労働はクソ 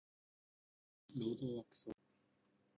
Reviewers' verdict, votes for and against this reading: rejected, 0, 2